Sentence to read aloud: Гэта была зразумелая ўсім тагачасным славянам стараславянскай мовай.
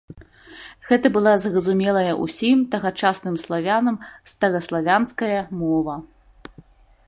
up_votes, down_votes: 0, 2